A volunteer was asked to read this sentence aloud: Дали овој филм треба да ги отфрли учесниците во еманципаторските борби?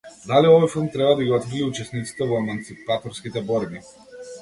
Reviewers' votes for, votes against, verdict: 1, 2, rejected